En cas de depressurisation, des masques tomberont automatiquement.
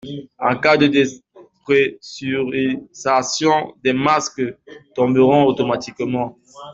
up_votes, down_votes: 0, 2